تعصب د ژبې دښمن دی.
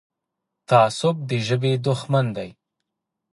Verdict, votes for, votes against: accepted, 2, 1